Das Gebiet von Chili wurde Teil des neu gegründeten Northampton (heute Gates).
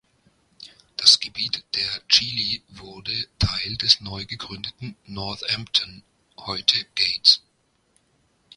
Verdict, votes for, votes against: rejected, 1, 2